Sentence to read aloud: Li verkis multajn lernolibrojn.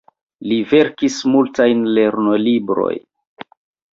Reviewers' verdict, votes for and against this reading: rejected, 0, 2